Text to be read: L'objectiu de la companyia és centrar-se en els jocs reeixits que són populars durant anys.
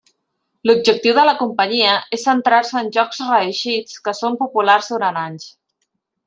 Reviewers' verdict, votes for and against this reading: rejected, 1, 2